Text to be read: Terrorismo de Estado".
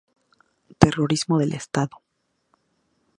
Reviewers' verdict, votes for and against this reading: rejected, 0, 2